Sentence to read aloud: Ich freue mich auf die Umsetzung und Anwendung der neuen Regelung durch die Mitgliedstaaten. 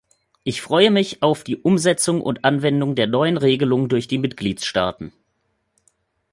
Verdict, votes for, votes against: accepted, 2, 0